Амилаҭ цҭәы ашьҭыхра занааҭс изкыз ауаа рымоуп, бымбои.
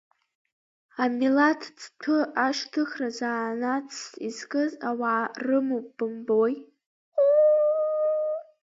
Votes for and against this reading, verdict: 0, 2, rejected